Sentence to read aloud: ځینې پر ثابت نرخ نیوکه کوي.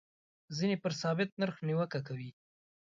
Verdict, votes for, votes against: accepted, 2, 0